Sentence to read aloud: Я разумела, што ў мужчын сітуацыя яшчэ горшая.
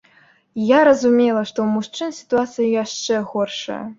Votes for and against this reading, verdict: 2, 0, accepted